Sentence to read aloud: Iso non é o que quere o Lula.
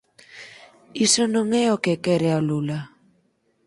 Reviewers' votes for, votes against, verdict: 0, 4, rejected